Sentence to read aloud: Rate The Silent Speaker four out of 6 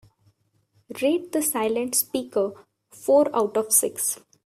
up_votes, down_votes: 0, 2